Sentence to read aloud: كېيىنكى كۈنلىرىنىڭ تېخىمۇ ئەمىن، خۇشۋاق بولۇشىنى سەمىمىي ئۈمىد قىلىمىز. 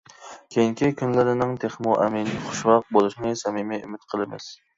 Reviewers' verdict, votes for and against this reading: accepted, 2, 0